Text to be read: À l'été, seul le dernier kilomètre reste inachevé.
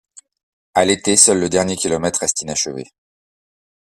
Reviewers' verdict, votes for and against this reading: accepted, 2, 0